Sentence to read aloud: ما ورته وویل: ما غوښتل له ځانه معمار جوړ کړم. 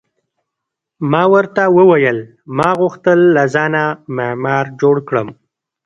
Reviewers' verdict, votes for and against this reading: rejected, 1, 2